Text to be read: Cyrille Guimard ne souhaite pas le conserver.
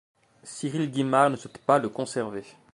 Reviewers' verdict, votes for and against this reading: rejected, 1, 2